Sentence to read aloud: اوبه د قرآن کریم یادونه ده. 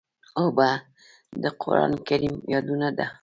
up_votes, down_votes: 1, 2